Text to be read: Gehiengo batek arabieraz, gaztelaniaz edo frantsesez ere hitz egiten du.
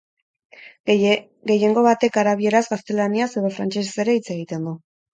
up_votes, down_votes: 4, 0